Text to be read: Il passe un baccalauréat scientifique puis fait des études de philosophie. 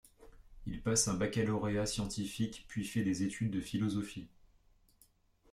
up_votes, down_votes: 2, 0